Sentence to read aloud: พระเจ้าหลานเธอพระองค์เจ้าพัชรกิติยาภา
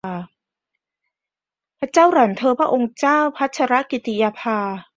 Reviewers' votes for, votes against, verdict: 1, 2, rejected